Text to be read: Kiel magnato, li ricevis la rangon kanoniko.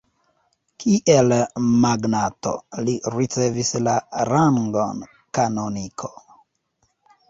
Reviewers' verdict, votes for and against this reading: accepted, 3, 0